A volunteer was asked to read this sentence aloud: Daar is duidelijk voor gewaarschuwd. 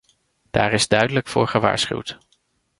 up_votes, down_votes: 2, 0